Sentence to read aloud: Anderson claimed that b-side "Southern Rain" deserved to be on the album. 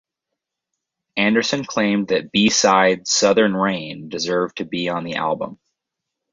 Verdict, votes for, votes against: accepted, 4, 0